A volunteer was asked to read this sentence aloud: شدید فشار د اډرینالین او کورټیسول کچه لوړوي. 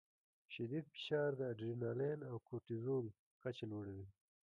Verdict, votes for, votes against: rejected, 0, 2